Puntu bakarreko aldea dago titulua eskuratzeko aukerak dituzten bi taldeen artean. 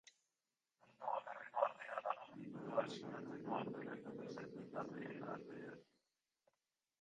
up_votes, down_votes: 0, 2